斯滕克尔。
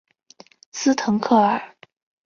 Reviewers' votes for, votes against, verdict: 2, 0, accepted